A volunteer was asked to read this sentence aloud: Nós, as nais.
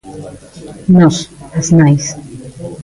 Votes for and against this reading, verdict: 2, 1, accepted